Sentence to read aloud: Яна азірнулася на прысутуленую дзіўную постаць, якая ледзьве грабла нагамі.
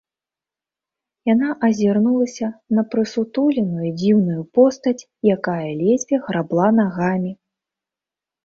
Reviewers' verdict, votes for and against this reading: accepted, 2, 0